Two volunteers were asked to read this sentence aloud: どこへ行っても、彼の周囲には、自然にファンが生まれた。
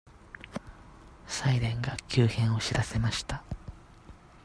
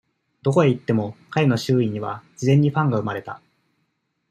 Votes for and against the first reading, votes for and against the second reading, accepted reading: 0, 2, 2, 0, second